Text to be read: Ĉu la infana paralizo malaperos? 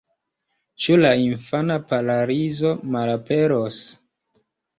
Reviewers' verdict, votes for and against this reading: rejected, 1, 3